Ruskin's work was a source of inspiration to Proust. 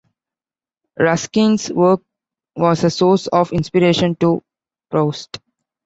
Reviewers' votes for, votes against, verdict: 2, 0, accepted